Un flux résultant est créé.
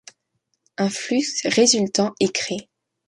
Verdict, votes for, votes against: rejected, 0, 2